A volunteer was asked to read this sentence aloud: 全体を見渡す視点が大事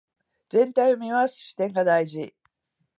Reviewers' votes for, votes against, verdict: 0, 2, rejected